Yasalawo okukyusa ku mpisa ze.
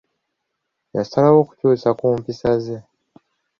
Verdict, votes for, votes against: accepted, 2, 0